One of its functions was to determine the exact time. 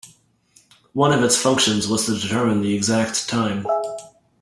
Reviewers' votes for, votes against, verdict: 2, 1, accepted